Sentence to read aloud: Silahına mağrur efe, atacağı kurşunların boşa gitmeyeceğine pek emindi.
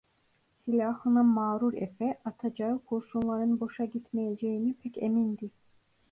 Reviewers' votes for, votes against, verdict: 2, 0, accepted